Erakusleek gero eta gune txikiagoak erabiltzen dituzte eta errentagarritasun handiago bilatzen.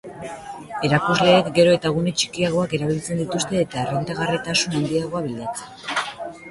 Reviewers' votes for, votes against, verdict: 2, 0, accepted